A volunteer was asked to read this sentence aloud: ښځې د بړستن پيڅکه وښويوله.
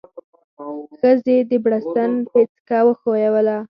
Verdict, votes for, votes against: accepted, 4, 0